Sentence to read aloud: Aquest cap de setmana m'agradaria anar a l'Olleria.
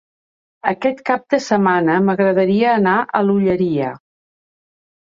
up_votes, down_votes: 2, 0